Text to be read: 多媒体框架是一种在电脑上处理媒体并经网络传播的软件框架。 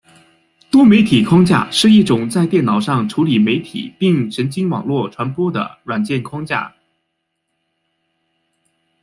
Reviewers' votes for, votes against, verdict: 1, 2, rejected